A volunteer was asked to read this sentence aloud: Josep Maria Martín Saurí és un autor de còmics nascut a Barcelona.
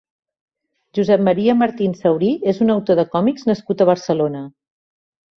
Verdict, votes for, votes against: accepted, 2, 0